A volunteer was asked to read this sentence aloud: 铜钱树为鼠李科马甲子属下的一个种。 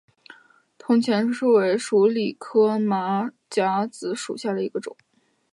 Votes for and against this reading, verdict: 2, 1, accepted